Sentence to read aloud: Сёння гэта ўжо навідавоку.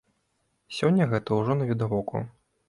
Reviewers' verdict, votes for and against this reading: accepted, 2, 0